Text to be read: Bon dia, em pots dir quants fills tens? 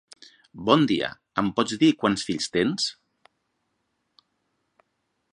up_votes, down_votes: 3, 0